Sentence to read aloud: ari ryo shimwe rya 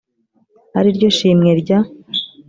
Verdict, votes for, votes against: accepted, 2, 0